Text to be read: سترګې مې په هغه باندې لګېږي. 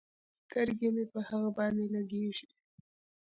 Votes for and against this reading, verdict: 2, 0, accepted